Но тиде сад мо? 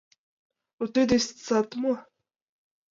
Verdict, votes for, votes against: accepted, 2, 1